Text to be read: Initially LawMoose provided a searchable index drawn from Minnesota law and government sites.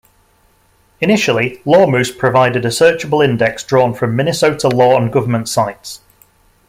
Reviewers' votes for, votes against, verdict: 2, 0, accepted